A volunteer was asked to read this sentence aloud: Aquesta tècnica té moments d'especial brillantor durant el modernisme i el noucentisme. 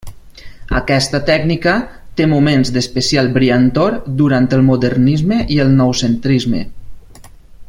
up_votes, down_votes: 0, 2